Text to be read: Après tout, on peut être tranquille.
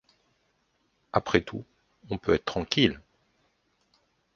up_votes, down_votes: 2, 0